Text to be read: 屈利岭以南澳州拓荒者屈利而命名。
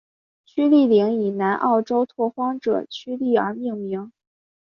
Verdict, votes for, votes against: accepted, 3, 1